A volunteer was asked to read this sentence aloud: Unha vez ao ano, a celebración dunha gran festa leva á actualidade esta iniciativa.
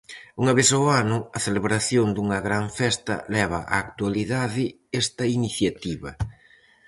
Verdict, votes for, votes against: accepted, 4, 0